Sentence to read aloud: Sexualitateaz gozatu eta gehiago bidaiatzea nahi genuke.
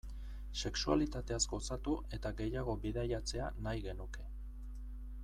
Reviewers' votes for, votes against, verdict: 2, 0, accepted